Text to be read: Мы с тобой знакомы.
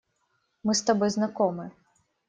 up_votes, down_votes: 2, 0